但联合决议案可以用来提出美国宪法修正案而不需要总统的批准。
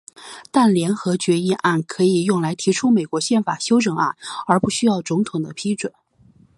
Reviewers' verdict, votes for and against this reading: accepted, 2, 0